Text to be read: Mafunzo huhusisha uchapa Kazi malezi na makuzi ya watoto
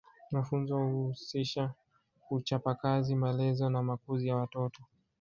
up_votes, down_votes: 2, 1